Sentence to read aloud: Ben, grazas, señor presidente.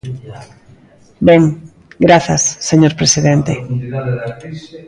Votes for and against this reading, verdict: 0, 2, rejected